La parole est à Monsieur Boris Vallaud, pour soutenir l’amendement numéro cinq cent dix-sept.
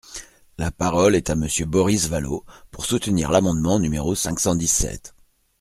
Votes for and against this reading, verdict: 2, 0, accepted